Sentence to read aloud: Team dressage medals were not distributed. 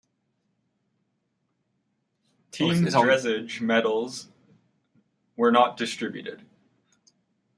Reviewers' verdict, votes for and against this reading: rejected, 1, 2